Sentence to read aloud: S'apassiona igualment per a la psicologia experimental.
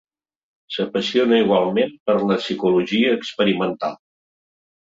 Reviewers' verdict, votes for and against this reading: rejected, 0, 2